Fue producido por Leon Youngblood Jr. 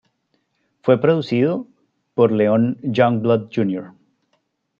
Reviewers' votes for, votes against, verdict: 2, 0, accepted